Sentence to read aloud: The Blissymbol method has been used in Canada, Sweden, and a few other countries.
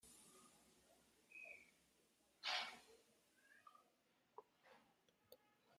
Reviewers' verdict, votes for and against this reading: rejected, 0, 2